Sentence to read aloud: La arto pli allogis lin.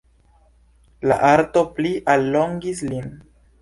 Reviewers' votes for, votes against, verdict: 1, 2, rejected